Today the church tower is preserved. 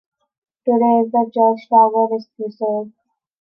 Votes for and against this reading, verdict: 2, 0, accepted